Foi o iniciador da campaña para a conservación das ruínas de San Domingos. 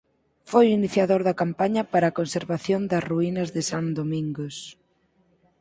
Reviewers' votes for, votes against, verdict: 4, 0, accepted